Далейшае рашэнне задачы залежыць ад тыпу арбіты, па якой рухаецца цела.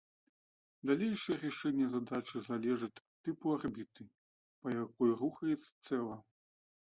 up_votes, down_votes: 1, 2